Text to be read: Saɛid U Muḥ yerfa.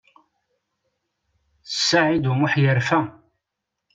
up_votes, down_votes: 2, 0